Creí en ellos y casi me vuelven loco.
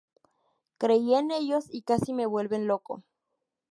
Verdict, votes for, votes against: accepted, 2, 0